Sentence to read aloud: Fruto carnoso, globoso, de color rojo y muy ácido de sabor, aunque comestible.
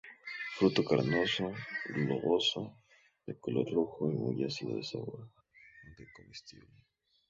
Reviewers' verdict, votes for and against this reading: accepted, 2, 0